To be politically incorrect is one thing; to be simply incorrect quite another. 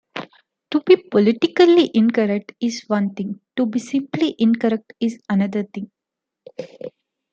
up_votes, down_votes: 0, 2